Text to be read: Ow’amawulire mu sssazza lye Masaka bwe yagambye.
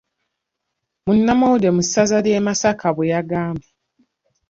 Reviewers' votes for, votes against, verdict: 0, 2, rejected